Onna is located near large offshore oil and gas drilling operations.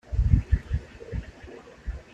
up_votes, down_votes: 0, 2